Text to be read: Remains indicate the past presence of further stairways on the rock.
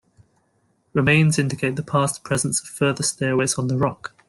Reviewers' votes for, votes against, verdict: 2, 0, accepted